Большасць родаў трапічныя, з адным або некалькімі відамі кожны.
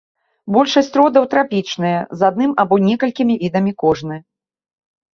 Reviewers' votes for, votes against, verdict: 2, 0, accepted